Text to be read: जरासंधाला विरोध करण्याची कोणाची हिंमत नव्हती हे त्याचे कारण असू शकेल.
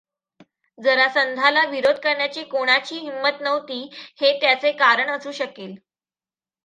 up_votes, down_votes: 2, 0